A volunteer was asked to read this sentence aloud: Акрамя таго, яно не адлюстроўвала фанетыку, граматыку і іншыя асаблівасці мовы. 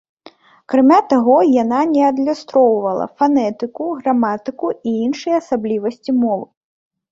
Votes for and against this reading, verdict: 1, 2, rejected